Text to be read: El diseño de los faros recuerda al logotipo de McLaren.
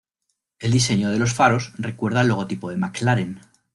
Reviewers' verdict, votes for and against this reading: accepted, 2, 1